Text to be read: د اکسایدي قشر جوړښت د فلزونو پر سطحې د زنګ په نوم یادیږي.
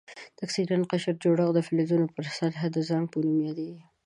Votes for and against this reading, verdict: 1, 2, rejected